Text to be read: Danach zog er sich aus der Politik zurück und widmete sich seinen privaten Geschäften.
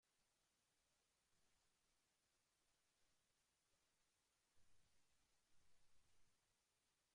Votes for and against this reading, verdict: 0, 2, rejected